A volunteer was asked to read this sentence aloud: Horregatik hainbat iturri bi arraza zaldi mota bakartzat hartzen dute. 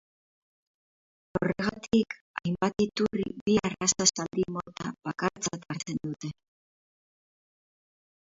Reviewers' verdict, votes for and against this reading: rejected, 0, 2